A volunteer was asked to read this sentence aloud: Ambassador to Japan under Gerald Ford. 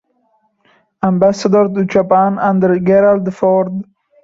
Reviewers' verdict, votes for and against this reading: rejected, 0, 2